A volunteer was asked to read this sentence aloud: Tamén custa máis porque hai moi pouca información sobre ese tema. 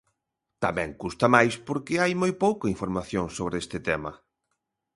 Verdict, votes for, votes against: rejected, 1, 2